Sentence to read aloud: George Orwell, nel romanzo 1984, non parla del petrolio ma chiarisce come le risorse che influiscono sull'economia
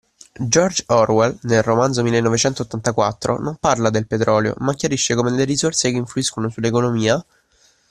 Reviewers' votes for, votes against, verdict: 0, 2, rejected